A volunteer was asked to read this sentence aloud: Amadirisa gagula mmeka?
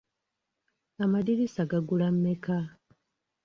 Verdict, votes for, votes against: accepted, 2, 1